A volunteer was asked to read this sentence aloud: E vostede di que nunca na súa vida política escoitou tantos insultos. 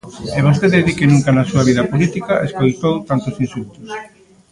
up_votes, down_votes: 0, 2